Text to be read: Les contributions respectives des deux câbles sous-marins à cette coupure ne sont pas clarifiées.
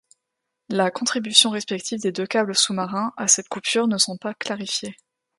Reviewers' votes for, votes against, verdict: 0, 2, rejected